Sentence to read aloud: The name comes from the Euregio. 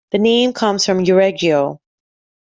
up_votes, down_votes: 1, 2